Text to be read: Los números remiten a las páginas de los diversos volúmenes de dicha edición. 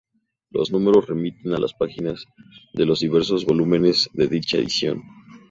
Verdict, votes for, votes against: accepted, 2, 0